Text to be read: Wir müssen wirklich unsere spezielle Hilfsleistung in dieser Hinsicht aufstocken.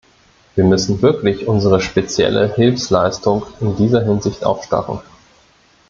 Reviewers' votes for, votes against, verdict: 0, 2, rejected